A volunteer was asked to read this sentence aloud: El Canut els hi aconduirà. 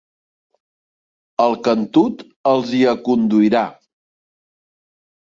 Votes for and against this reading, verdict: 0, 2, rejected